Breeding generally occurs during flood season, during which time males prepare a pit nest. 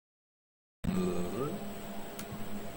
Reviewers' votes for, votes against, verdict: 0, 2, rejected